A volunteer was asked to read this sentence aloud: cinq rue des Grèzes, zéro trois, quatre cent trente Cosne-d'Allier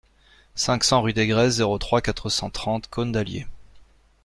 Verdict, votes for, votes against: rejected, 0, 2